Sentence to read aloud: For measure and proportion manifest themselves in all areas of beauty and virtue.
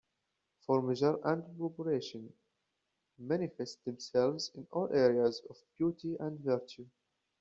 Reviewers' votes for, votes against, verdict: 0, 2, rejected